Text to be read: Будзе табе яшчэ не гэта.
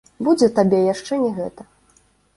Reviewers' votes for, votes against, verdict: 2, 0, accepted